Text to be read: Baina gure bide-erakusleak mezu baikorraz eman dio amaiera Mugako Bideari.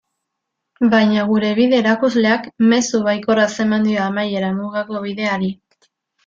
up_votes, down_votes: 2, 0